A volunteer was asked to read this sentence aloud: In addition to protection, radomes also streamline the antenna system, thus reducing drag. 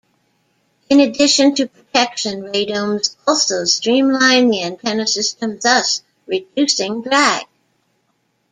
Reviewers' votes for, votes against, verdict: 0, 2, rejected